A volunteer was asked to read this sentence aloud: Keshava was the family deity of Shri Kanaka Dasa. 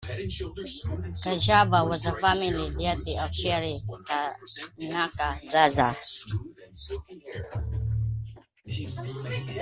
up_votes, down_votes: 0, 2